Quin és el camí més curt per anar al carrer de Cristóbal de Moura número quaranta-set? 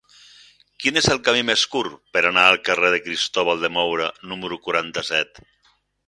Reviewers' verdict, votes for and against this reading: accepted, 6, 0